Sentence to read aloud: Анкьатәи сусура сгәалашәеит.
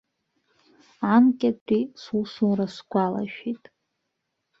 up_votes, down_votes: 2, 1